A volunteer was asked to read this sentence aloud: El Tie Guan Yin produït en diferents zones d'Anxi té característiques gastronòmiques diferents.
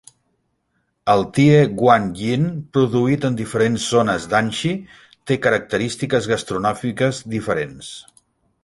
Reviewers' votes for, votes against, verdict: 1, 2, rejected